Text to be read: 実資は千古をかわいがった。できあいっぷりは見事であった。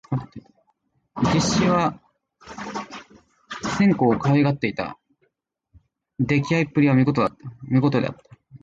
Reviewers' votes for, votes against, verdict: 0, 2, rejected